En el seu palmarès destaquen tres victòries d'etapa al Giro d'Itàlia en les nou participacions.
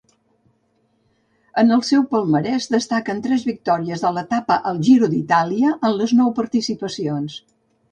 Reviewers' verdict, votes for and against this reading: rejected, 1, 2